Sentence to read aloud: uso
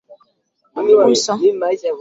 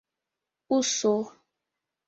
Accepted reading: second